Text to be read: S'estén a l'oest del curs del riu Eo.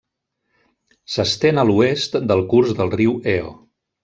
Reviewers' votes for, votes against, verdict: 3, 0, accepted